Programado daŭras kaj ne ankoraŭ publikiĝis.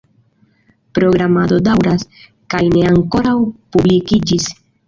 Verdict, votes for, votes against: rejected, 1, 2